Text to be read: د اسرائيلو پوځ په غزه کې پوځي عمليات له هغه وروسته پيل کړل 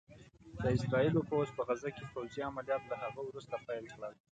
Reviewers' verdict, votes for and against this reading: accepted, 2, 1